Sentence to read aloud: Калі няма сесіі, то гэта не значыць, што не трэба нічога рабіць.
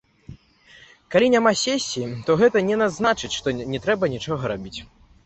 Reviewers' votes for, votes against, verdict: 0, 2, rejected